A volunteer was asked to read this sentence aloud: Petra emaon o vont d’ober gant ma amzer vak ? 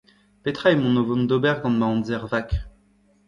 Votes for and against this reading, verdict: 1, 2, rejected